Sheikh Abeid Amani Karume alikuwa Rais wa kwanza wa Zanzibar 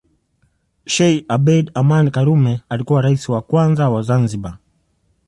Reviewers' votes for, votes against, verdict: 2, 0, accepted